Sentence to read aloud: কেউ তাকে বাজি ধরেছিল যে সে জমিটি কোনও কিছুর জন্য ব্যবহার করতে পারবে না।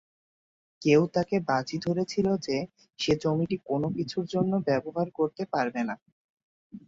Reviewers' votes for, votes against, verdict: 2, 0, accepted